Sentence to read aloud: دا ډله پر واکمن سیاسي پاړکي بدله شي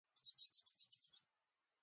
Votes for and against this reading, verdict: 1, 2, rejected